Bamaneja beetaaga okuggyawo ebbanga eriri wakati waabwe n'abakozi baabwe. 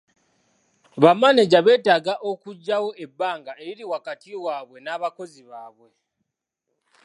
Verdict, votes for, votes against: accepted, 2, 0